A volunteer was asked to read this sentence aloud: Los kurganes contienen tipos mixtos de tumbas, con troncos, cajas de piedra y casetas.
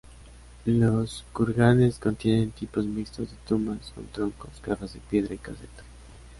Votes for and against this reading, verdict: 0, 2, rejected